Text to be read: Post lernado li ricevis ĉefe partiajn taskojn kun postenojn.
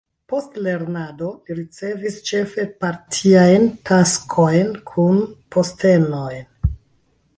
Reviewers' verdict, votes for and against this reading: rejected, 0, 2